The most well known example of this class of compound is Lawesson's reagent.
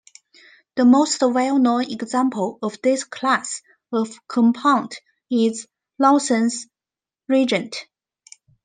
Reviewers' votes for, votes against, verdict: 1, 2, rejected